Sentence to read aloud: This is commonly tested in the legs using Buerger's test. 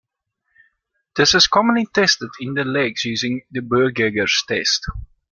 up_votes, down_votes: 1, 2